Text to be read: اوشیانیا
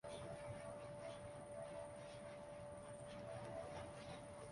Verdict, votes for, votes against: rejected, 0, 2